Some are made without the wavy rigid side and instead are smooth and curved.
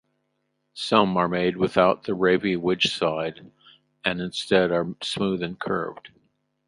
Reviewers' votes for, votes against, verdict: 0, 2, rejected